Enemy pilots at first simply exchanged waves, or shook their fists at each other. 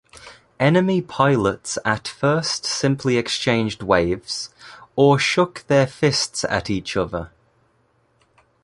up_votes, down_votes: 2, 1